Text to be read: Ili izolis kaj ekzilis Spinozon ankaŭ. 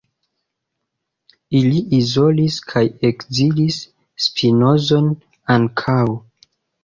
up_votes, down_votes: 2, 0